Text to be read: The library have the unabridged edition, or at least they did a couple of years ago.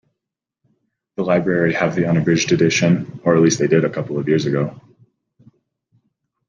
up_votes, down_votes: 2, 0